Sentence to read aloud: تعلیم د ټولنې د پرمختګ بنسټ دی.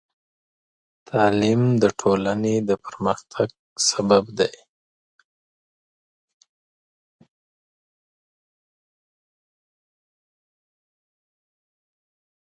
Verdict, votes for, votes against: rejected, 0, 2